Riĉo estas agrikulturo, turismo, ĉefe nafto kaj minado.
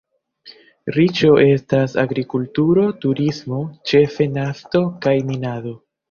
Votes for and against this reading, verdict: 0, 2, rejected